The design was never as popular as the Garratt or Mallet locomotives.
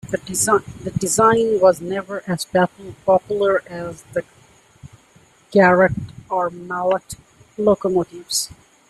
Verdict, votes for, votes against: rejected, 0, 2